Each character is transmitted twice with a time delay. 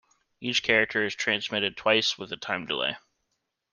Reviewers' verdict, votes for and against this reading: accepted, 2, 0